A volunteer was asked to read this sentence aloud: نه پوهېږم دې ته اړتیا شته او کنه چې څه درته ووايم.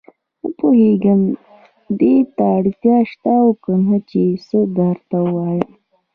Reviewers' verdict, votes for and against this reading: accepted, 3, 0